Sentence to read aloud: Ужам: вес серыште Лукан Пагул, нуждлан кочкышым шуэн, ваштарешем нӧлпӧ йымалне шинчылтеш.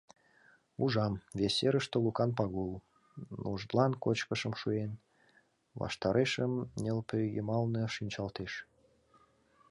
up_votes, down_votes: 1, 2